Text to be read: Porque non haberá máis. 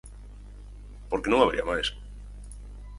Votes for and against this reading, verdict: 0, 4, rejected